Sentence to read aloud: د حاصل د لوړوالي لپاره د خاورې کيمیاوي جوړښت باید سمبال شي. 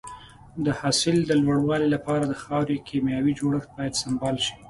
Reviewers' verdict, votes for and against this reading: accepted, 2, 0